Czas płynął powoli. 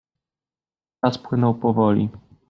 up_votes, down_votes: 0, 2